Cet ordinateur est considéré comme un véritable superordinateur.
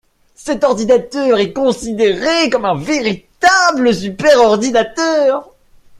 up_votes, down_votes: 2, 1